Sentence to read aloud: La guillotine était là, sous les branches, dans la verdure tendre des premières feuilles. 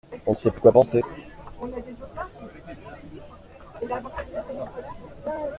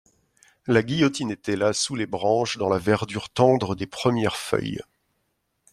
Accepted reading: second